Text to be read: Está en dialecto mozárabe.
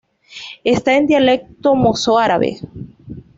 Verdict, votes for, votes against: rejected, 1, 2